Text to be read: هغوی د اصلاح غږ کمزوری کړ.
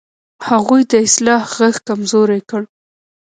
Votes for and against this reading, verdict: 0, 2, rejected